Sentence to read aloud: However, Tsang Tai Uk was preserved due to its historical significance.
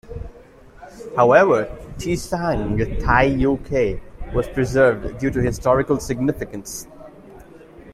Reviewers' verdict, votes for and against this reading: rejected, 1, 2